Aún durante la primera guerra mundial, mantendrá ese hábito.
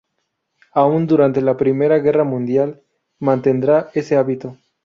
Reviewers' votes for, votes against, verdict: 0, 2, rejected